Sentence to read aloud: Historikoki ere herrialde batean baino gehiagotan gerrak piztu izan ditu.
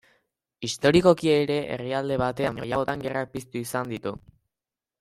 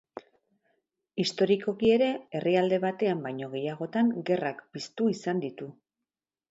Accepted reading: second